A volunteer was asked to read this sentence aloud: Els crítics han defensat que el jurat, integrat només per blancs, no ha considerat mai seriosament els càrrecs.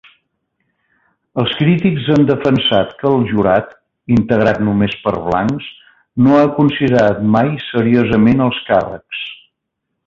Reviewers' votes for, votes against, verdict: 3, 0, accepted